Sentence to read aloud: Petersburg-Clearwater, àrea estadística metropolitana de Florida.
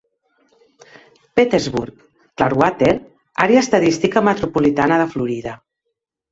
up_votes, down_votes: 1, 2